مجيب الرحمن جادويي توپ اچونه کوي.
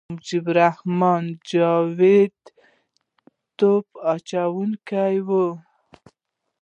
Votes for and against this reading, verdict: 0, 2, rejected